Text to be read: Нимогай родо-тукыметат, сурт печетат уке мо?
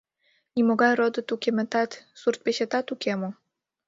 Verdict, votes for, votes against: rejected, 1, 3